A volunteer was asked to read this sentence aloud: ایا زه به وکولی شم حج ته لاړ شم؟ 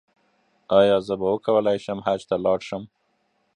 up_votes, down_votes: 1, 2